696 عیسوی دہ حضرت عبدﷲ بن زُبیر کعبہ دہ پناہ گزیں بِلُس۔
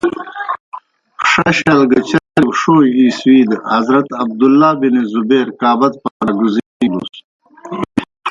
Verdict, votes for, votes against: rejected, 0, 2